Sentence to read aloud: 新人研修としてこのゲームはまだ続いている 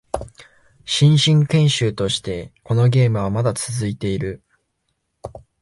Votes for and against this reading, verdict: 1, 2, rejected